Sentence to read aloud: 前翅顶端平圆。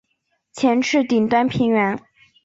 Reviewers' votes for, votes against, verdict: 2, 0, accepted